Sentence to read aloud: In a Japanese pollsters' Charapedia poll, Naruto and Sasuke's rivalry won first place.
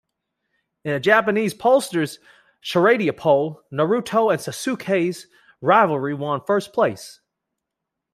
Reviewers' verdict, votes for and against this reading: rejected, 1, 2